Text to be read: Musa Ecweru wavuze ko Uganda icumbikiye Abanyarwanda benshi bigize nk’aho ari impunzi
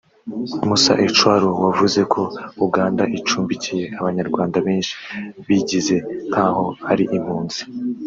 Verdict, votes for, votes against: rejected, 1, 2